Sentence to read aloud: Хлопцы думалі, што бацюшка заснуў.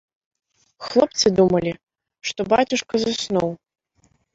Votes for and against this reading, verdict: 2, 0, accepted